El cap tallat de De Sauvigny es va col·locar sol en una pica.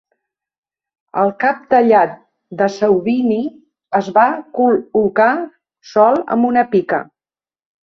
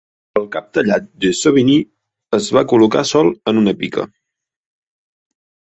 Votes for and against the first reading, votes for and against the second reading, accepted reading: 0, 2, 6, 0, second